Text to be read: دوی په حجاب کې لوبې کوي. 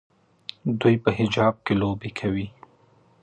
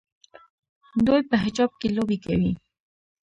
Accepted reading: first